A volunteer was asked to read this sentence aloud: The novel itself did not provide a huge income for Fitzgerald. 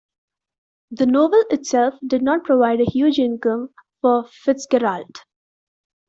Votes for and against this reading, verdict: 2, 0, accepted